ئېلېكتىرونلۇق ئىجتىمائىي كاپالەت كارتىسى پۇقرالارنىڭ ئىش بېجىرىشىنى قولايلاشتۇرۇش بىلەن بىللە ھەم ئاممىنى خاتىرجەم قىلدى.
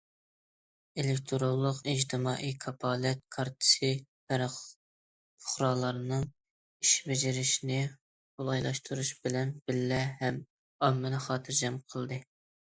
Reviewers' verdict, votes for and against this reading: rejected, 0, 2